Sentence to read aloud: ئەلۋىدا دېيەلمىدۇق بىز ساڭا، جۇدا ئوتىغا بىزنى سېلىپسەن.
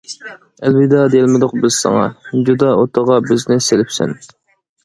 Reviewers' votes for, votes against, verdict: 2, 0, accepted